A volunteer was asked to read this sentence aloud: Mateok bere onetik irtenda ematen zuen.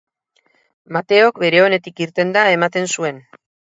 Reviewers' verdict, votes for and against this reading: accepted, 4, 0